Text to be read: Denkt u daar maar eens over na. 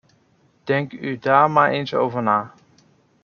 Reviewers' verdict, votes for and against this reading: accepted, 2, 0